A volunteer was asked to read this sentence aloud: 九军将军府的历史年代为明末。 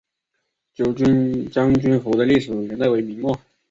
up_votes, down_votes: 2, 0